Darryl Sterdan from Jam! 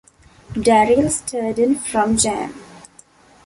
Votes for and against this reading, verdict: 2, 0, accepted